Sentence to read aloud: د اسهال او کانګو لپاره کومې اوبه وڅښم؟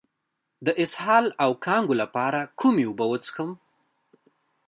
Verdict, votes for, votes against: accepted, 2, 1